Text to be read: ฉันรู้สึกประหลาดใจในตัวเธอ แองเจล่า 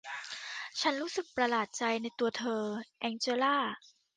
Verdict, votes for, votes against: accepted, 2, 1